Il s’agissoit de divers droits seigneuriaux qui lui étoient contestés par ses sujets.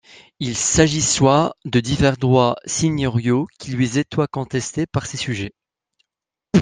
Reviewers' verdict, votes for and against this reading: rejected, 1, 3